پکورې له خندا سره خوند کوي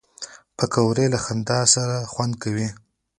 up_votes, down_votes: 2, 1